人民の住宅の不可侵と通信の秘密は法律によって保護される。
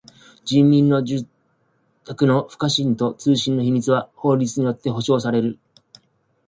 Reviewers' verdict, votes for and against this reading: accepted, 2, 0